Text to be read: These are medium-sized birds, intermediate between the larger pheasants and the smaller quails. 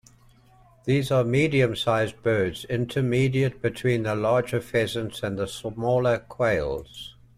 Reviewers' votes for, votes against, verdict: 2, 0, accepted